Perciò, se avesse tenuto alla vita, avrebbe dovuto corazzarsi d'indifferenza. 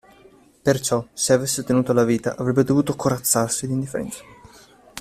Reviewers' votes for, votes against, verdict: 0, 2, rejected